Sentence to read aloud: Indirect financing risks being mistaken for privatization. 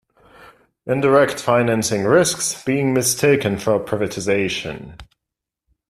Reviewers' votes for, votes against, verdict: 2, 1, accepted